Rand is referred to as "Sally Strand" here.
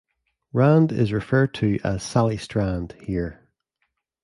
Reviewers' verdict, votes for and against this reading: accepted, 2, 0